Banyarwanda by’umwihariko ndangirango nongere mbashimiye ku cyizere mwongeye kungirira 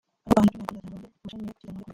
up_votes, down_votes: 0, 2